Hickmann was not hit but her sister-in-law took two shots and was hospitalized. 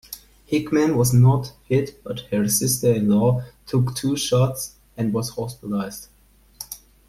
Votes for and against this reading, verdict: 2, 1, accepted